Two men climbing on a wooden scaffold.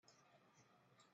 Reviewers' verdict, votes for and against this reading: rejected, 0, 2